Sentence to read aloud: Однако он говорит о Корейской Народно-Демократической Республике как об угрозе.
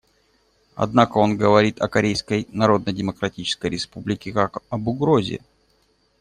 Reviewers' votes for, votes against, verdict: 2, 0, accepted